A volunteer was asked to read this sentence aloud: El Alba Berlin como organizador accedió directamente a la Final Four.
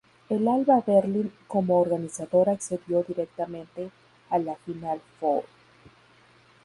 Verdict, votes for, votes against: accepted, 2, 0